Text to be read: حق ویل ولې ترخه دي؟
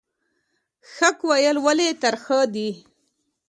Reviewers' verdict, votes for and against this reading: accepted, 2, 0